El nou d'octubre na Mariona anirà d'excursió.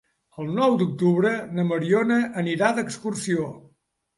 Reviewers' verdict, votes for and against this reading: accepted, 3, 0